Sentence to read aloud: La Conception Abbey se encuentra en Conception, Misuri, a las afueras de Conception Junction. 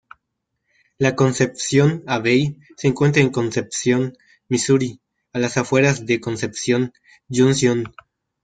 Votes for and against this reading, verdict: 0, 2, rejected